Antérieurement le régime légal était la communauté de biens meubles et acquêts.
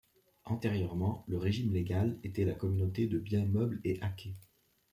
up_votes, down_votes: 2, 0